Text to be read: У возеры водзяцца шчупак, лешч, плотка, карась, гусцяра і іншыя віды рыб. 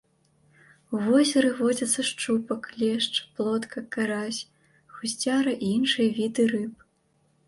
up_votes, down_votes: 0, 2